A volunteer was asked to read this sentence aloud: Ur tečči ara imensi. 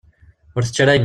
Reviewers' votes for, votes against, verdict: 0, 2, rejected